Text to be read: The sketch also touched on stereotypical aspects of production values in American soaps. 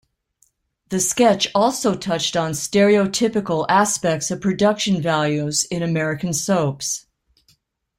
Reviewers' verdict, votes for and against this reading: accepted, 2, 0